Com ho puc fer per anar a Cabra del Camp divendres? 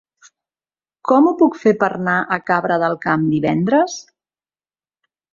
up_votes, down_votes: 0, 2